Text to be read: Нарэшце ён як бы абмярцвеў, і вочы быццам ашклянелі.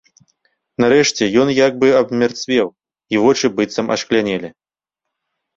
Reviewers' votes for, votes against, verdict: 2, 0, accepted